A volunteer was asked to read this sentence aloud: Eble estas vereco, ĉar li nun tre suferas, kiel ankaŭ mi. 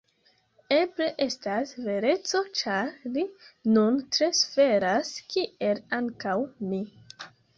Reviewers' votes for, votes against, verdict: 0, 2, rejected